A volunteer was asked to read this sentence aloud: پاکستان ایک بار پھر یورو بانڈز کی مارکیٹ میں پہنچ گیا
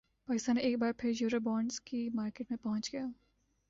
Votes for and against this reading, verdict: 2, 0, accepted